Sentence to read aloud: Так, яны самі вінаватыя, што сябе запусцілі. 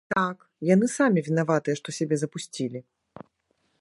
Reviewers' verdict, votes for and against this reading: rejected, 0, 2